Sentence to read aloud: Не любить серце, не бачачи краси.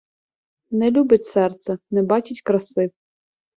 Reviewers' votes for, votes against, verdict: 1, 2, rejected